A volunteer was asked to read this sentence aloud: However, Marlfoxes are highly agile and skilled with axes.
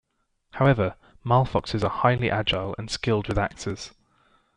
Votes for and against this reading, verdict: 0, 2, rejected